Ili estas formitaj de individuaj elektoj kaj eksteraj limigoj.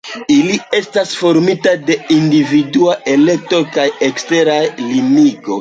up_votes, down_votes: 2, 1